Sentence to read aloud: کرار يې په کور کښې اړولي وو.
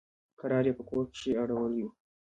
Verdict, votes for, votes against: rejected, 1, 2